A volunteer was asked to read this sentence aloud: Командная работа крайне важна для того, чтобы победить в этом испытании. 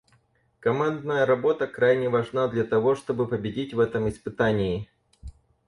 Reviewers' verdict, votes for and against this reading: accepted, 4, 0